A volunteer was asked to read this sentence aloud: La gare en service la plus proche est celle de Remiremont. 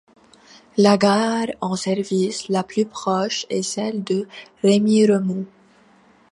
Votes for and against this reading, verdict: 2, 0, accepted